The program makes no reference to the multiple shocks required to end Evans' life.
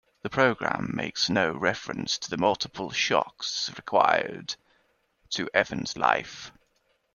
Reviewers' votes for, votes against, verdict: 0, 2, rejected